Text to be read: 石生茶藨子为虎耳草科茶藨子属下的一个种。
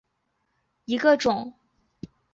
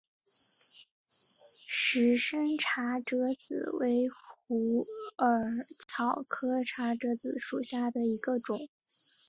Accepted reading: first